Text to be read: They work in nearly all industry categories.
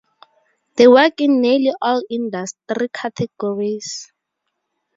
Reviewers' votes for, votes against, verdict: 4, 0, accepted